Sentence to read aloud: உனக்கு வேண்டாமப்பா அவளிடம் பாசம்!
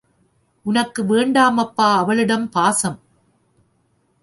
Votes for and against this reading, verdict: 2, 0, accepted